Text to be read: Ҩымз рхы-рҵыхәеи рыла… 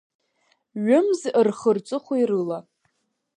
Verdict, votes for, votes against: accepted, 3, 0